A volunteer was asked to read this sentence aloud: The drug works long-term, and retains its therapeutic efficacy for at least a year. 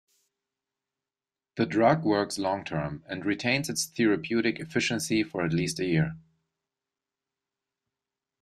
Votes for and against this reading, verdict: 1, 2, rejected